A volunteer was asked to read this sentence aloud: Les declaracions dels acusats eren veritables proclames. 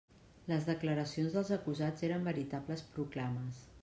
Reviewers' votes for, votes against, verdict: 3, 0, accepted